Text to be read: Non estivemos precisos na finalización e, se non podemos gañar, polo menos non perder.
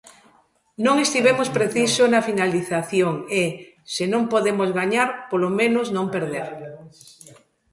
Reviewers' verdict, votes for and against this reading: rejected, 0, 2